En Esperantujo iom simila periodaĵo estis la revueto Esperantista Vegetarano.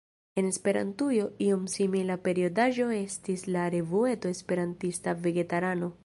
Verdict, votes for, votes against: rejected, 1, 2